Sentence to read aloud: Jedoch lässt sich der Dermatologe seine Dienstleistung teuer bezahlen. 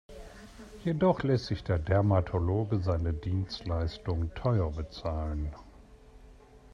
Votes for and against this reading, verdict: 2, 0, accepted